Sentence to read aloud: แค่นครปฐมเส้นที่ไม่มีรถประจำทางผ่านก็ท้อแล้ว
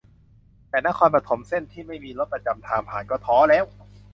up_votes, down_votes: 0, 2